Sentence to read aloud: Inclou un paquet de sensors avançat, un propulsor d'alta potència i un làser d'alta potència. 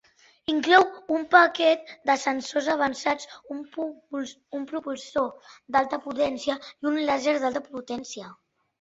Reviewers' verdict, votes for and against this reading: rejected, 0, 2